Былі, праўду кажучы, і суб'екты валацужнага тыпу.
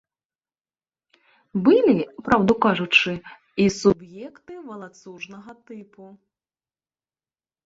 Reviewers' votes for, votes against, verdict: 0, 2, rejected